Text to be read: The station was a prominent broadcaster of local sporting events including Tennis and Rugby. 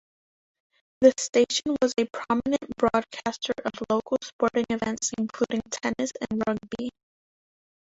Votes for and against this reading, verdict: 2, 0, accepted